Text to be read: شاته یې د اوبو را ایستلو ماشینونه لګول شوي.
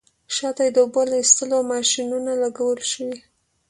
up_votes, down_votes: 2, 0